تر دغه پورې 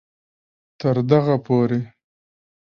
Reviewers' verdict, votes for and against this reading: accepted, 2, 0